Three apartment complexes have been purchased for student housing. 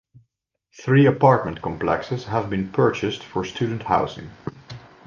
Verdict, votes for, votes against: accepted, 2, 0